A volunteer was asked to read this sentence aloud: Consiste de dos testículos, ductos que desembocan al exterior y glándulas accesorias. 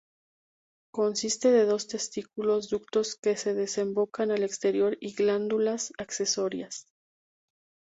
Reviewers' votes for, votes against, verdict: 0, 2, rejected